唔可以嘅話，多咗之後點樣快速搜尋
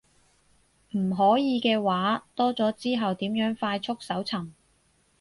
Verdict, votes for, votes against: accepted, 2, 0